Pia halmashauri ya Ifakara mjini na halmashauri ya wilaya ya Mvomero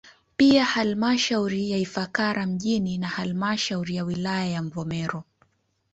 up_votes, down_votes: 2, 0